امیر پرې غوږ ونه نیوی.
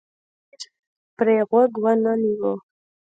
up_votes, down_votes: 2, 0